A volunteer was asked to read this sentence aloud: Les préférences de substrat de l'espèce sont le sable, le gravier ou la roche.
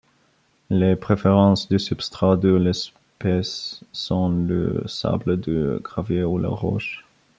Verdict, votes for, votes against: rejected, 0, 2